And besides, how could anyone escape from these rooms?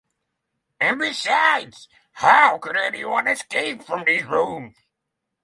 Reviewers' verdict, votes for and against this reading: accepted, 9, 0